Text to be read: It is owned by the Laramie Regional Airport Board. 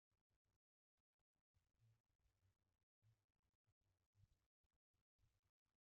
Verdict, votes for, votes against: rejected, 0, 2